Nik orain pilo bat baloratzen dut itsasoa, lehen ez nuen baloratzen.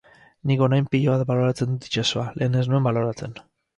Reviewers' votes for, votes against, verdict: 4, 0, accepted